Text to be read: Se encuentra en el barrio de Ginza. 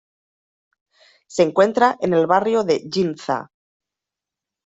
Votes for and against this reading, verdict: 2, 0, accepted